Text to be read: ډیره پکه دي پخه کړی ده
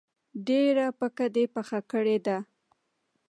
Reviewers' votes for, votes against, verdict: 1, 2, rejected